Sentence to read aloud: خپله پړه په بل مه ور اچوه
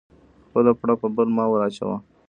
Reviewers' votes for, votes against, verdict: 0, 2, rejected